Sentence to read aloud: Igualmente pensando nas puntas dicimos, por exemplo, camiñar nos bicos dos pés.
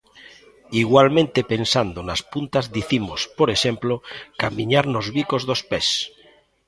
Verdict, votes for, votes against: accepted, 2, 0